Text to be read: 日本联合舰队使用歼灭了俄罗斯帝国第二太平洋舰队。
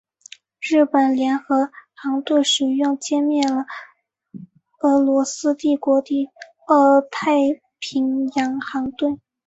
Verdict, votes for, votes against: rejected, 3, 5